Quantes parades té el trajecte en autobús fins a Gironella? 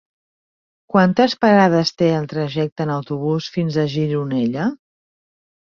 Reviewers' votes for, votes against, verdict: 3, 0, accepted